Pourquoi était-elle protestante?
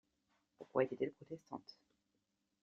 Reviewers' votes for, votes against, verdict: 2, 0, accepted